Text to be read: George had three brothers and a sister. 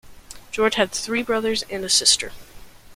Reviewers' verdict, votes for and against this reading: accepted, 2, 0